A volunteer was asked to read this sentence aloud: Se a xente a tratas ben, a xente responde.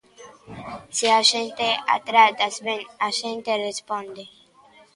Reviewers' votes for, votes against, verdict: 1, 2, rejected